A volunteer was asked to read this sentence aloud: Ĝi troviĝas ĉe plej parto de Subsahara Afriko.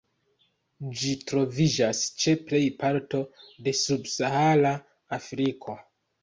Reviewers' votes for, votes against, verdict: 2, 0, accepted